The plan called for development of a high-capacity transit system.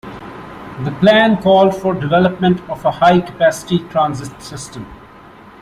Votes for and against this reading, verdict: 2, 0, accepted